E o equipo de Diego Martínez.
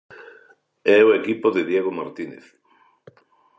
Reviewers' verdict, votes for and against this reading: accepted, 3, 0